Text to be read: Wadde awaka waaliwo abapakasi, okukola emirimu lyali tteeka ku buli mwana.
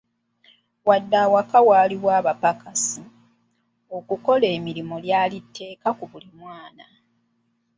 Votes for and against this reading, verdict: 2, 0, accepted